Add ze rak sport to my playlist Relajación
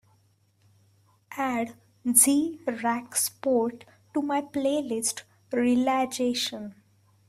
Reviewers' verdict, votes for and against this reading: accepted, 2, 0